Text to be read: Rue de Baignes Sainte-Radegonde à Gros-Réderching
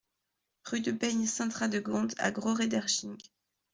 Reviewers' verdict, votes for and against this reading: accepted, 2, 0